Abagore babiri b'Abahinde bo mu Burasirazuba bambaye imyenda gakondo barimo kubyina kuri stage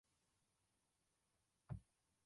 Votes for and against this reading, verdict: 0, 2, rejected